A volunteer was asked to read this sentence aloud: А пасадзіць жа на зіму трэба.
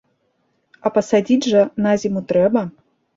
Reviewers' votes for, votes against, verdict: 2, 0, accepted